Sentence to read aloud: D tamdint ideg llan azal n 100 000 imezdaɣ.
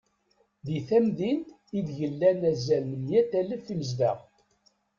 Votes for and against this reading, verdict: 0, 2, rejected